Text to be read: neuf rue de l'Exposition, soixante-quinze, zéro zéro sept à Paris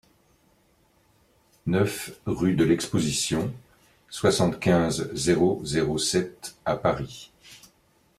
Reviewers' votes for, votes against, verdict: 2, 0, accepted